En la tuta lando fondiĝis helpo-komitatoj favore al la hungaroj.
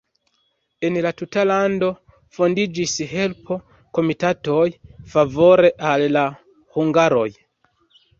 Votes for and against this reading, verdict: 2, 0, accepted